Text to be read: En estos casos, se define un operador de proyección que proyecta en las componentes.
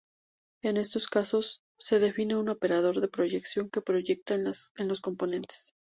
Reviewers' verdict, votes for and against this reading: rejected, 0, 2